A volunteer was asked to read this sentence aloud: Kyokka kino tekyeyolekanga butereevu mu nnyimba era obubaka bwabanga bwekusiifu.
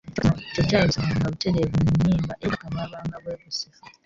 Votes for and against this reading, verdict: 1, 2, rejected